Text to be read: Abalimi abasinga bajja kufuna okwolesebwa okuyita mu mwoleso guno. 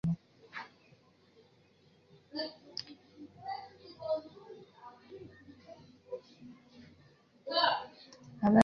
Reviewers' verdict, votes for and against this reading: rejected, 0, 2